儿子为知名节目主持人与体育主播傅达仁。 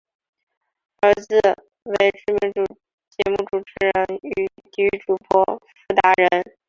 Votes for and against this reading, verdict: 2, 3, rejected